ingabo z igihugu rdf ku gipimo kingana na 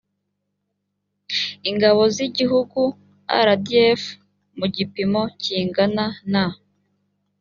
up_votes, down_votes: 2, 3